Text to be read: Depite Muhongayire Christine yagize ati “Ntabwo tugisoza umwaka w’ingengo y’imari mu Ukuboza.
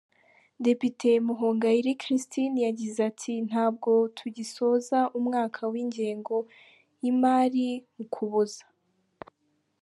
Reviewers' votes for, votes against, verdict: 2, 3, rejected